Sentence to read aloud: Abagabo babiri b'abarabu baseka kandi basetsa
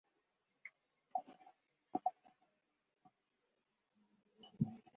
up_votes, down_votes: 0, 2